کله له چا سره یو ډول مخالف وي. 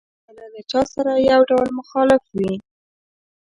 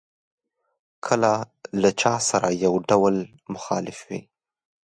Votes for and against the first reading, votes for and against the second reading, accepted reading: 1, 2, 2, 0, second